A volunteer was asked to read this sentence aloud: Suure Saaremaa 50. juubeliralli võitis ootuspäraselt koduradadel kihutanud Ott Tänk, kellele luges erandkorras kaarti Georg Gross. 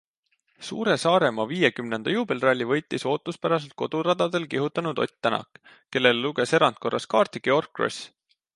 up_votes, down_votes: 0, 2